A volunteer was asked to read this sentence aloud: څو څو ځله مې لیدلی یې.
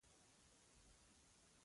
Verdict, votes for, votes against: rejected, 0, 2